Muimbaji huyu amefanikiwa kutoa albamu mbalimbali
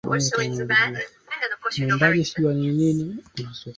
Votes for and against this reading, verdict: 1, 2, rejected